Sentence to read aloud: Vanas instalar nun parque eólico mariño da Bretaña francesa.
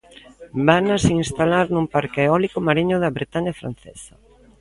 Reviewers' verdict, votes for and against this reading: accepted, 2, 0